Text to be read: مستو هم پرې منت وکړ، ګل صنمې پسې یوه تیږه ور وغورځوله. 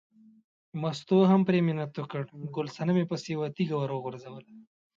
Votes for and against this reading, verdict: 2, 0, accepted